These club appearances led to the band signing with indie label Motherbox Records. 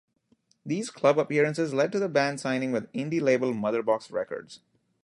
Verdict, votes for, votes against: rejected, 1, 2